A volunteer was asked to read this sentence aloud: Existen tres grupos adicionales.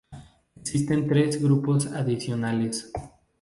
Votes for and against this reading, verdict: 2, 2, rejected